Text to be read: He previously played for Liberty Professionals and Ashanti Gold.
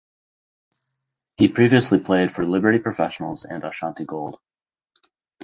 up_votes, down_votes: 2, 2